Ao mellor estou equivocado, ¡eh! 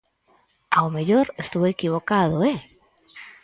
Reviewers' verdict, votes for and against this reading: accepted, 4, 2